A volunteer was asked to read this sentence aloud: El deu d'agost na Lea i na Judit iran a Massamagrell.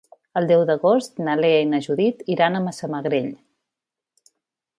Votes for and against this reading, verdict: 3, 0, accepted